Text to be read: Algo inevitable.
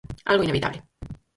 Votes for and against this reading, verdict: 0, 4, rejected